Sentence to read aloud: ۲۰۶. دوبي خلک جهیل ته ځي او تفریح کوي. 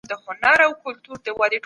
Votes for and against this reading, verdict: 0, 2, rejected